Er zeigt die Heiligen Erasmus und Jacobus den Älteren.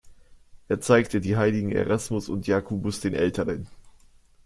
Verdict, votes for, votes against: rejected, 1, 2